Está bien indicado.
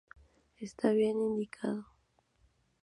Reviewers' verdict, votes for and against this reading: rejected, 0, 2